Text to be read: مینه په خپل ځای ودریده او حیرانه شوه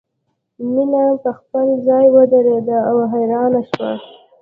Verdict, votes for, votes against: accepted, 2, 0